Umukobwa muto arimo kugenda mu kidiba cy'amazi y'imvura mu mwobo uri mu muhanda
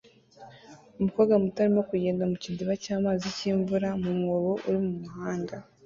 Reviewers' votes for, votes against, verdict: 2, 0, accepted